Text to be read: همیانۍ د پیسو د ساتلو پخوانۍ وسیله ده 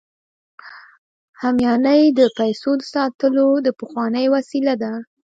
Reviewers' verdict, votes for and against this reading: accepted, 2, 0